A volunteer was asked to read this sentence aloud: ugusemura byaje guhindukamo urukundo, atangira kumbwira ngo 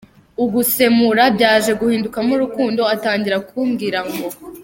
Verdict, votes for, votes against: rejected, 1, 2